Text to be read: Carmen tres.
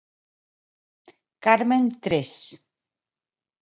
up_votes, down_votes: 2, 0